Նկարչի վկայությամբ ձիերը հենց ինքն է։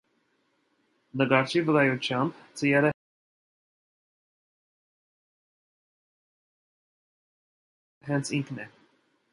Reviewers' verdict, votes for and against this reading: rejected, 0, 2